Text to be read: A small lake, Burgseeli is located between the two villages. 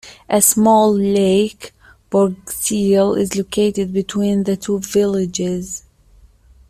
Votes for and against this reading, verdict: 1, 2, rejected